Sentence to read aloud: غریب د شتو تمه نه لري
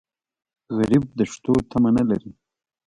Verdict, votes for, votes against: accepted, 2, 0